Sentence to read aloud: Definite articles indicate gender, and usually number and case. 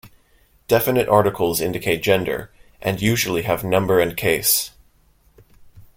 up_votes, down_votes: 1, 2